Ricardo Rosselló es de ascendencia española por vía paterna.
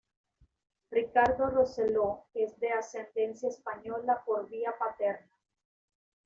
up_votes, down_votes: 2, 1